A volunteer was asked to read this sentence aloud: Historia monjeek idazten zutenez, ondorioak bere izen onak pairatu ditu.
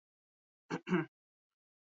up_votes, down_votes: 0, 4